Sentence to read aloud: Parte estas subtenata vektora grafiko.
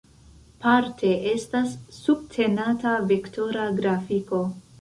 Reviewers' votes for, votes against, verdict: 2, 0, accepted